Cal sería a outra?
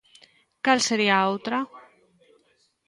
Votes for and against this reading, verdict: 1, 2, rejected